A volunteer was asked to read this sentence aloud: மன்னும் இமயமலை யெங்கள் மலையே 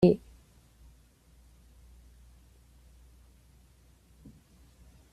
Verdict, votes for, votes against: rejected, 0, 2